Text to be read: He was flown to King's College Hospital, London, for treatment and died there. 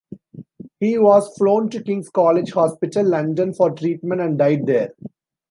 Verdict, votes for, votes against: accepted, 2, 0